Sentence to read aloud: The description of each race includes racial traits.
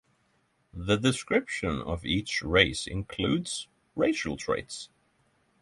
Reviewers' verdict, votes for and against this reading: accepted, 6, 0